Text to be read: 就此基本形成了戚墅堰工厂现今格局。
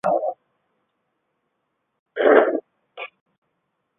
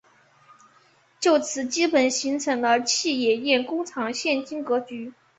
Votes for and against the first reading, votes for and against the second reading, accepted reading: 1, 3, 3, 0, second